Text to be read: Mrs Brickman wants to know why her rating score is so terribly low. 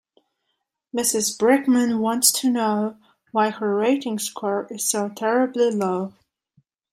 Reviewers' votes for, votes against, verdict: 2, 0, accepted